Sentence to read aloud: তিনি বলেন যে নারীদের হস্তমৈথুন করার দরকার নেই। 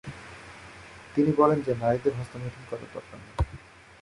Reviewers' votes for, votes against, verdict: 6, 4, accepted